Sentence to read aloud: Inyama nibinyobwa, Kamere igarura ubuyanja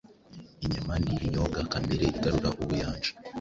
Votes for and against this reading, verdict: 0, 2, rejected